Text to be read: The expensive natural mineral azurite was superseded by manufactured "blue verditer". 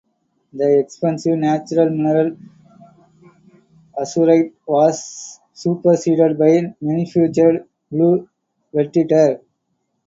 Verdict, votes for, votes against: rejected, 0, 4